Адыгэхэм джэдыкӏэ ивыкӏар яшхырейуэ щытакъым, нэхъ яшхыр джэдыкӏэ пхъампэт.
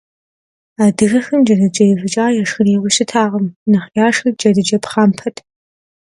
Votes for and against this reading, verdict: 2, 0, accepted